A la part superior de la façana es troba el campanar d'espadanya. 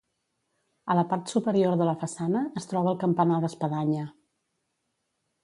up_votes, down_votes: 2, 0